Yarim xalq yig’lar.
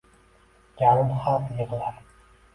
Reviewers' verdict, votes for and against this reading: accepted, 2, 1